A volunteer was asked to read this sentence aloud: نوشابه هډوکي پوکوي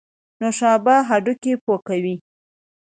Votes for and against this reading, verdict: 2, 0, accepted